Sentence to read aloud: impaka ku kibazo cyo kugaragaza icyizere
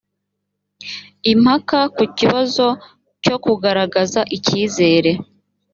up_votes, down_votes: 3, 0